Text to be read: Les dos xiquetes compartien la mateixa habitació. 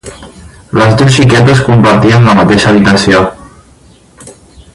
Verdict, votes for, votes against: rejected, 2, 2